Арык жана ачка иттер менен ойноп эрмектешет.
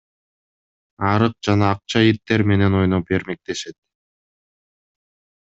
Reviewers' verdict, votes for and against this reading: rejected, 0, 2